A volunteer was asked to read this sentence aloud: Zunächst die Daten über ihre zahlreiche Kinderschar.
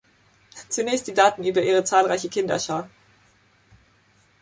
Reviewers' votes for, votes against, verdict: 2, 0, accepted